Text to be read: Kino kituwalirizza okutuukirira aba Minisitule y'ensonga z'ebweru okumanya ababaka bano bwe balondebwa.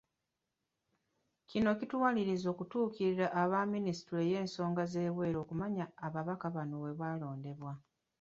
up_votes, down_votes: 2, 0